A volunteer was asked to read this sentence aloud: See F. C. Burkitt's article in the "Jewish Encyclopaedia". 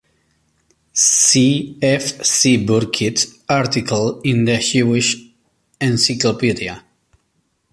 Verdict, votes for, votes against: rejected, 1, 3